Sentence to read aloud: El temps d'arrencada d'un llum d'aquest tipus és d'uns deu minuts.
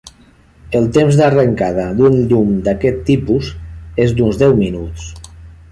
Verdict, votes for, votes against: accepted, 3, 0